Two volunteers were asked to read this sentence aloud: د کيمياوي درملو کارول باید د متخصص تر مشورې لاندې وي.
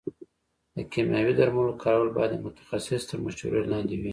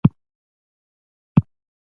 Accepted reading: first